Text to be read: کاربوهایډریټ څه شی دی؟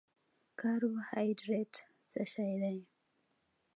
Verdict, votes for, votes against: accepted, 2, 0